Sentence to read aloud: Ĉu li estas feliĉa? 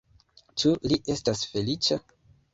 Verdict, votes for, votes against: accepted, 2, 1